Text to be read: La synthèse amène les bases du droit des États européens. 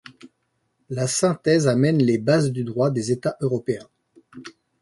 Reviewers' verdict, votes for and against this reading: accepted, 2, 0